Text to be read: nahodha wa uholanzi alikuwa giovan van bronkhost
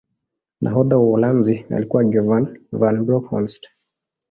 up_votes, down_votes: 0, 2